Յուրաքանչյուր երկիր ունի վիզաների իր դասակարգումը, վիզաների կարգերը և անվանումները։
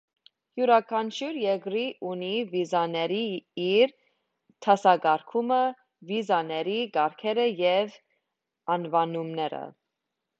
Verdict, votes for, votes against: rejected, 1, 2